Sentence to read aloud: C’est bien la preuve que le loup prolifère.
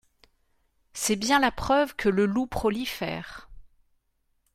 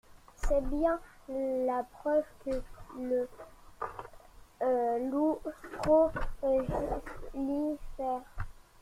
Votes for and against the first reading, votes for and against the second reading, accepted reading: 2, 0, 0, 2, first